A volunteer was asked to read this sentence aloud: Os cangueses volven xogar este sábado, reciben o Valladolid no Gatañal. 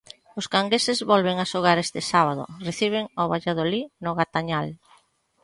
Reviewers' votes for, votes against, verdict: 1, 2, rejected